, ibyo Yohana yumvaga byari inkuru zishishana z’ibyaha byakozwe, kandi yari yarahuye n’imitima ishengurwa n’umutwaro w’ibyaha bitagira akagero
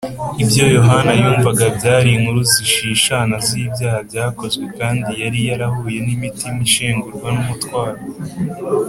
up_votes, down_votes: 1, 2